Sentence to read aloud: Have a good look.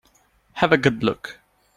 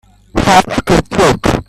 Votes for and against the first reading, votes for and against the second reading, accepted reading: 2, 0, 1, 2, first